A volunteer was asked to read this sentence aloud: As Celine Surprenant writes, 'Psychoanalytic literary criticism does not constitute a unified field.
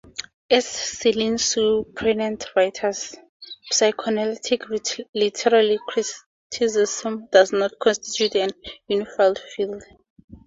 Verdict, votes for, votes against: rejected, 0, 4